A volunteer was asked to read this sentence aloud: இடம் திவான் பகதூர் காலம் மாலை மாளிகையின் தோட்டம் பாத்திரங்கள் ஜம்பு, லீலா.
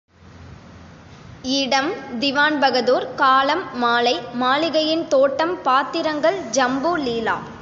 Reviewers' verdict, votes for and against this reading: accepted, 2, 0